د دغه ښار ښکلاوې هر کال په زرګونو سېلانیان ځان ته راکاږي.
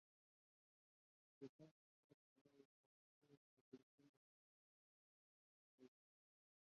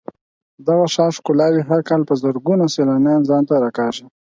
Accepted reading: second